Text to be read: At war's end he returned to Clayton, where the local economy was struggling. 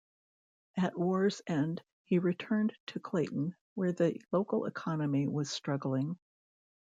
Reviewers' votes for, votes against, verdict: 1, 2, rejected